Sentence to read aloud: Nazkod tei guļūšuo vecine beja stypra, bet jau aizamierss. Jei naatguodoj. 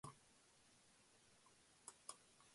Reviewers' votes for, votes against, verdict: 0, 2, rejected